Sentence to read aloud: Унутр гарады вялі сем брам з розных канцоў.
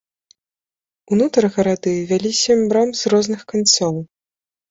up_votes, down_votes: 2, 0